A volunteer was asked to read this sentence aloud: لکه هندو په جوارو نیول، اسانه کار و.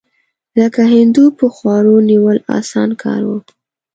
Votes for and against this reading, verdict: 0, 2, rejected